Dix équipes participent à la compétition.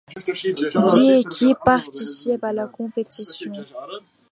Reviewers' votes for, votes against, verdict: 2, 0, accepted